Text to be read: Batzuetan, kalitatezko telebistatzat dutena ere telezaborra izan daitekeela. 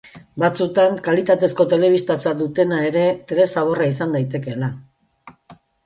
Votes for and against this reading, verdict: 0, 2, rejected